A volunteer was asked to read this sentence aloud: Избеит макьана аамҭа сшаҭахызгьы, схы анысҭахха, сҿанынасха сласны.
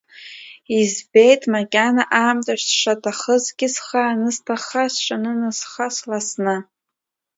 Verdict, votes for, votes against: accepted, 2, 0